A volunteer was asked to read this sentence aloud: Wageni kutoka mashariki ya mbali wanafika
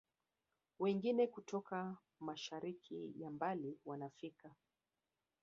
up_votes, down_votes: 1, 2